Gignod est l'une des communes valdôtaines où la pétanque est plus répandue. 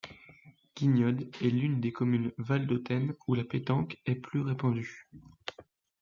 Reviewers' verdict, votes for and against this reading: rejected, 1, 2